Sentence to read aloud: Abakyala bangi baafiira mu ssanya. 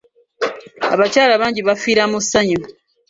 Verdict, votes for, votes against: rejected, 0, 2